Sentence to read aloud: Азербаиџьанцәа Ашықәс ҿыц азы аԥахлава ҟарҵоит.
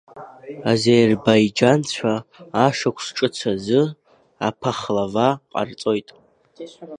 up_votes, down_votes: 1, 2